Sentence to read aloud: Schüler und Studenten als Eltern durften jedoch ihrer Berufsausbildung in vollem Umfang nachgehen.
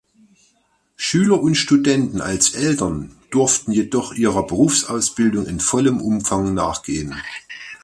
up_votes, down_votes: 2, 0